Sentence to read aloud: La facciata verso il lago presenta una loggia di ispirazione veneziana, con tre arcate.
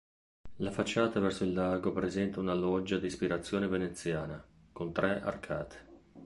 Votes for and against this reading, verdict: 2, 0, accepted